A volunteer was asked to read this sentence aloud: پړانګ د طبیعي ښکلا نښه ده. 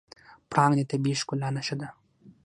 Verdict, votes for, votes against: accepted, 6, 3